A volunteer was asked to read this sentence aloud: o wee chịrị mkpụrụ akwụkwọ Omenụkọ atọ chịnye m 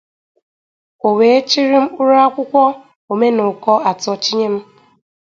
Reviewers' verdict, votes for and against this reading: accepted, 2, 0